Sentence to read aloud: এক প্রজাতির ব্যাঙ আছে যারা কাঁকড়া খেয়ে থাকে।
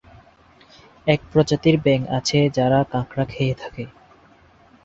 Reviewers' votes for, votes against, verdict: 2, 0, accepted